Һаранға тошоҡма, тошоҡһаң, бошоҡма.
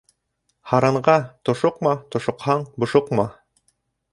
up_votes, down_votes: 2, 0